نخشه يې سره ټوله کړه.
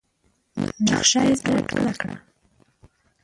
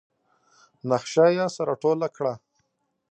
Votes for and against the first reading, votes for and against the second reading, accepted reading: 0, 2, 2, 0, second